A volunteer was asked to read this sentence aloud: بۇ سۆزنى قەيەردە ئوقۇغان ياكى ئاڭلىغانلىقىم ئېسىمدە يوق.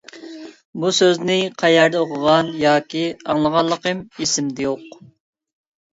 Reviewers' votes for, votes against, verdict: 2, 0, accepted